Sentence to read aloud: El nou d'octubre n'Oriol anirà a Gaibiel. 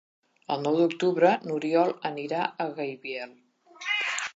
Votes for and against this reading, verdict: 1, 2, rejected